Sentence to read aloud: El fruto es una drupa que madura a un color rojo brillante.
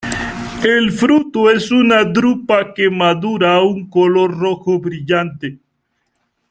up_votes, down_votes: 2, 0